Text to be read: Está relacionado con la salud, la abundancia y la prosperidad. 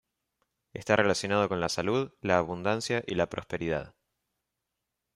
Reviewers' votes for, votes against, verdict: 2, 0, accepted